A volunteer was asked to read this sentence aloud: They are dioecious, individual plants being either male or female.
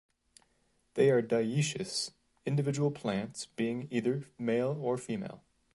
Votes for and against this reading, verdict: 2, 0, accepted